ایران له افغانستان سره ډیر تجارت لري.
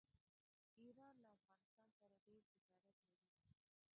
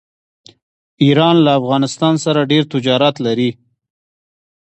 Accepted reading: second